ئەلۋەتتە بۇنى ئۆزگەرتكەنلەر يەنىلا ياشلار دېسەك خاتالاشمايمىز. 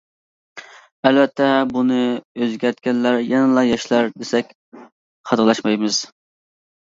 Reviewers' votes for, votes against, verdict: 2, 0, accepted